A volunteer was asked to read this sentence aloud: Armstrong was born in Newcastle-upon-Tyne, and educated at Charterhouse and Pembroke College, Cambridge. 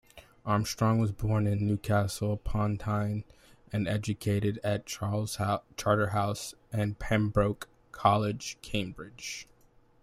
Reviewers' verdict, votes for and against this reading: rejected, 0, 2